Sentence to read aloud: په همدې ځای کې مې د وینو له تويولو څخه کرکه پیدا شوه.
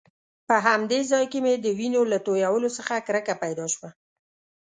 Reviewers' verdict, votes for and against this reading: accepted, 2, 0